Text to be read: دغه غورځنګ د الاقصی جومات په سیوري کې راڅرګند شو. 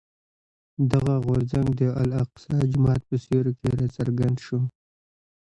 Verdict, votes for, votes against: rejected, 1, 2